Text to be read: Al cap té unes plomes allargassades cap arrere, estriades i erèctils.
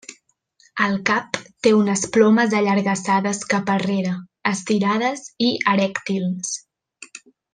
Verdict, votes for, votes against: rejected, 1, 2